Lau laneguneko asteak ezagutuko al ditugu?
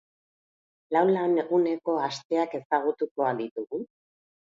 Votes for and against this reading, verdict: 2, 0, accepted